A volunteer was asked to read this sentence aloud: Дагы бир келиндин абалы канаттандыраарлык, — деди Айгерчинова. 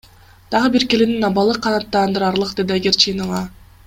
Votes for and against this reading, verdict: 2, 0, accepted